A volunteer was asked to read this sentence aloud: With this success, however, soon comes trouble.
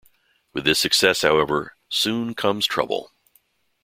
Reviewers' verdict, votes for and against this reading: accepted, 2, 0